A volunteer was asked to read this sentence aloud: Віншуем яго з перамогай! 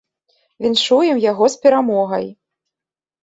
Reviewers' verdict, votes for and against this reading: accepted, 2, 0